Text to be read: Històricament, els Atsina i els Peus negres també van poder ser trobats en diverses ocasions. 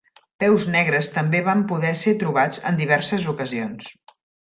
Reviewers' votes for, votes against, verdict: 0, 2, rejected